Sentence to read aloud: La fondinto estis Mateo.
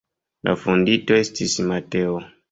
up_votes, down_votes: 1, 2